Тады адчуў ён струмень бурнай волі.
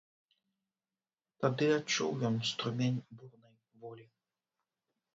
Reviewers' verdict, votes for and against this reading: rejected, 0, 3